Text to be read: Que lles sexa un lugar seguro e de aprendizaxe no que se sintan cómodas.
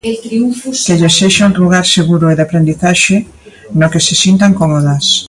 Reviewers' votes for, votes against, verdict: 2, 1, accepted